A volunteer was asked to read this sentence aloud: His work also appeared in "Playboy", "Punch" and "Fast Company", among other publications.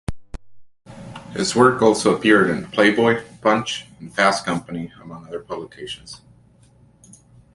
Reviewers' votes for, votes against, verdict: 2, 0, accepted